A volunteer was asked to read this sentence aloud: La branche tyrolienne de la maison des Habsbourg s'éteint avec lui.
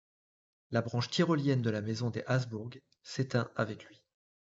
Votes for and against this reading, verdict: 2, 0, accepted